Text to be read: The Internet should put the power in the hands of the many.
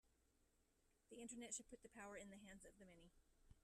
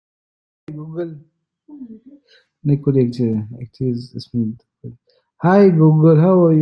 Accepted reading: first